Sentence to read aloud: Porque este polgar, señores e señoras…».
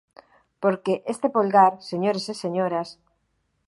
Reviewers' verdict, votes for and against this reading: accepted, 2, 0